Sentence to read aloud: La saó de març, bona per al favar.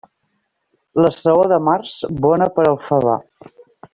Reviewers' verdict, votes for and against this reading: accepted, 2, 0